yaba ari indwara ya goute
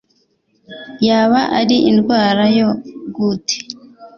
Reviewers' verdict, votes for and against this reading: accepted, 3, 0